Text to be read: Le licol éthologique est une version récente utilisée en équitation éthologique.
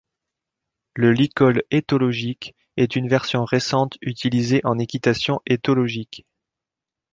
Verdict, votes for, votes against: accepted, 2, 1